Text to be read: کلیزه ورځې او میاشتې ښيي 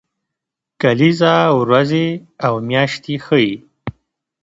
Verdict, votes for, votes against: accepted, 2, 0